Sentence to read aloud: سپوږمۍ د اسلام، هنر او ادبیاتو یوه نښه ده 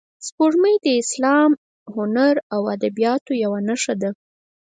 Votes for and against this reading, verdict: 2, 4, rejected